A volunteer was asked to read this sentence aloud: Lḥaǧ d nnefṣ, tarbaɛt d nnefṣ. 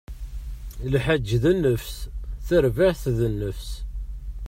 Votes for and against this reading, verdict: 2, 1, accepted